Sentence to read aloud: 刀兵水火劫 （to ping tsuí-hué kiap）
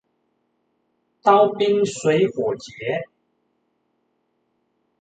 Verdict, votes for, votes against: rejected, 1, 2